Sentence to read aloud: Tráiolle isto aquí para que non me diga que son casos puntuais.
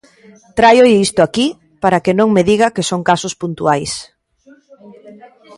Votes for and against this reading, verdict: 2, 0, accepted